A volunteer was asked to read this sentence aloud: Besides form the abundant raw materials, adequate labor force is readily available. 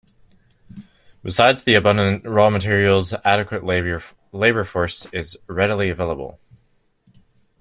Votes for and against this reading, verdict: 0, 2, rejected